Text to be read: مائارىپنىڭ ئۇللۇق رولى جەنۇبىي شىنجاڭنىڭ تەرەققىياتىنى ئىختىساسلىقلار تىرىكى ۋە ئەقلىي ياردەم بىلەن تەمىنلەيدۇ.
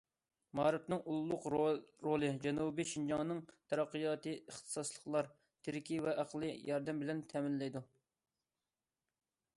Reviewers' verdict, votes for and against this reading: rejected, 0, 2